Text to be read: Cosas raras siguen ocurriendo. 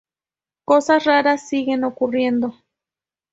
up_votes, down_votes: 2, 0